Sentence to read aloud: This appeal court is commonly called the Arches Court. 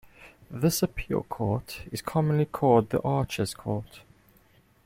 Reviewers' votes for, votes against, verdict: 2, 0, accepted